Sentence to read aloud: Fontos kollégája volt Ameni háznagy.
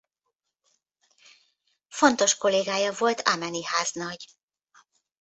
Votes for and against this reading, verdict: 0, 2, rejected